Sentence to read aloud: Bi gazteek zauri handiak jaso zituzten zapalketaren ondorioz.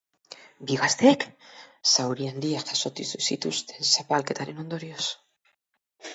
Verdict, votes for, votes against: rejected, 2, 4